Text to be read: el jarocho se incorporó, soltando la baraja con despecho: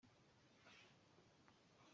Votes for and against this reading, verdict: 0, 2, rejected